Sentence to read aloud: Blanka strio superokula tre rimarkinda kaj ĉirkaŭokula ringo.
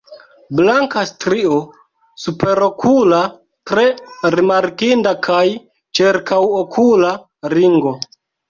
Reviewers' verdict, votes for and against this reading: rejected, 0, 3